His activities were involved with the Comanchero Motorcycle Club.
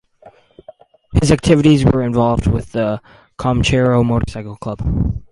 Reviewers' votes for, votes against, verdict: 2, 0, accepted